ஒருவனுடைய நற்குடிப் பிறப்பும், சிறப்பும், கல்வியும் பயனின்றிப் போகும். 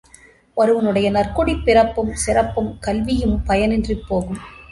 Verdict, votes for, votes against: accepted, 2, 0